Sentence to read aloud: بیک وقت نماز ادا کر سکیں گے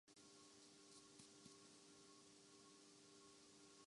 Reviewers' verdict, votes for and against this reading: rejected, 0, 2